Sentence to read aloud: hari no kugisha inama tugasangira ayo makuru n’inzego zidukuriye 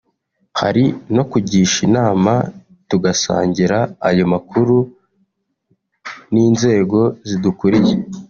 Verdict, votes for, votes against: accepted, 2, 0